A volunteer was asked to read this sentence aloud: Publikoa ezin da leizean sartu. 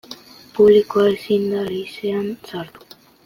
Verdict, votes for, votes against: accepted, 2, 0